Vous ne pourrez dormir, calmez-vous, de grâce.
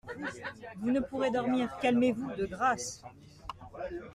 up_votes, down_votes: 2, 0